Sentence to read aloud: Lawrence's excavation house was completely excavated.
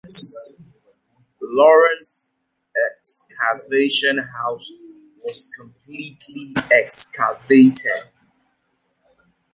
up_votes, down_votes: 0, 2